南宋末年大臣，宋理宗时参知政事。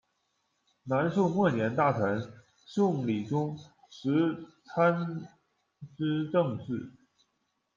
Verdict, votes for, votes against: rejected, 0, 2